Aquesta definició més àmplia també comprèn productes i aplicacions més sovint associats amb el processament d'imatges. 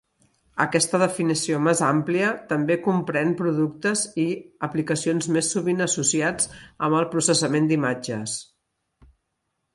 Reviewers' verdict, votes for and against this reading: accepted, 3, 0